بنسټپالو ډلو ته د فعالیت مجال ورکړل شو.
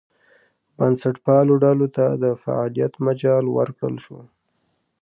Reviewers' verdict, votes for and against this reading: accepted, 2, 0